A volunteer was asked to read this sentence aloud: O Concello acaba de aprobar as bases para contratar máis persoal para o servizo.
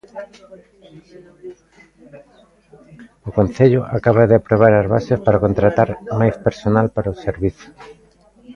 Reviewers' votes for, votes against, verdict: 0, 2, rejected